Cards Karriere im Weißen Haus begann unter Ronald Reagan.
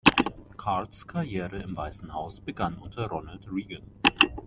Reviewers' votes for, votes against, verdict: 2, 1, accepted